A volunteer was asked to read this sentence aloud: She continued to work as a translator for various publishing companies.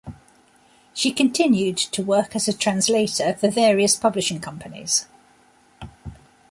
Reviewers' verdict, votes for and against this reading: accepted, 2, 0